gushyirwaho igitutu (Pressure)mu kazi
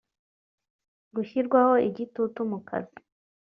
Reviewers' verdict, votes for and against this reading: rejected, 0, 2